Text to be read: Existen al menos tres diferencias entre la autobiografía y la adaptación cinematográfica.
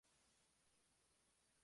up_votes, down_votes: 0, 2